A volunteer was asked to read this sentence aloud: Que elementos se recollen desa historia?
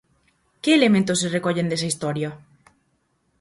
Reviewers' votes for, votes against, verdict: 4, 0, accepted